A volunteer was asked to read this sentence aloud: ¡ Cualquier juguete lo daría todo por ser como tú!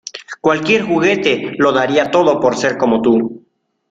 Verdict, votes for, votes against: accepted, 2, 0